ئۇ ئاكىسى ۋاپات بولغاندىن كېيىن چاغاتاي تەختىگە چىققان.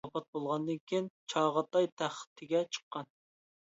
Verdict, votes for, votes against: rejected, 0, 2